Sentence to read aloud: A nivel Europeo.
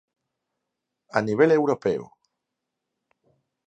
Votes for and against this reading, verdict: 4, 0, accepted